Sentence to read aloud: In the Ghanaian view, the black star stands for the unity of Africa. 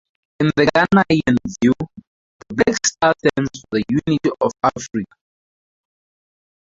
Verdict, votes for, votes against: rejected, 0, 4